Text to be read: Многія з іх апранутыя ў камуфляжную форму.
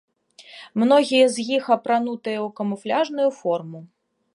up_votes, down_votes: 2, 0